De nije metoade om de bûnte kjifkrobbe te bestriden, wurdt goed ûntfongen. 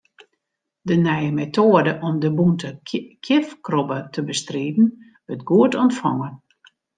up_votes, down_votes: 0, 2